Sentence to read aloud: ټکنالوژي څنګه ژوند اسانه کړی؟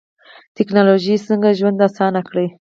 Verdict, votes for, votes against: rejected, 0, 4